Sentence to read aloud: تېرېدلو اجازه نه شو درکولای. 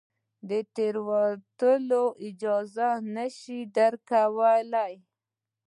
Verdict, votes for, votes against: rejected, 1, 2